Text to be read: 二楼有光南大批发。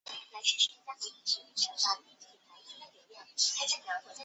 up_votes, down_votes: 0, 2